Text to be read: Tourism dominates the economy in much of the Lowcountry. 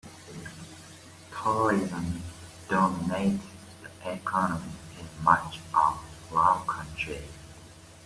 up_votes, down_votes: 2, 1